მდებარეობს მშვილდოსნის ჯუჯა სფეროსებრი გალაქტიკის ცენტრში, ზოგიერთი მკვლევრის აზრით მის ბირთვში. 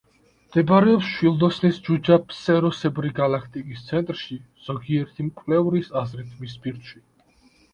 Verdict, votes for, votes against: rejected, 2, 3